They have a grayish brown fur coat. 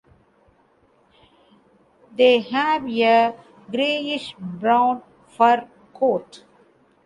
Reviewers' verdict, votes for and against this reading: rejected, 0, 2